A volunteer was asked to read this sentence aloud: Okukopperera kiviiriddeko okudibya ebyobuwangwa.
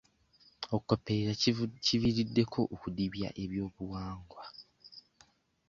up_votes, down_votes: 1, 2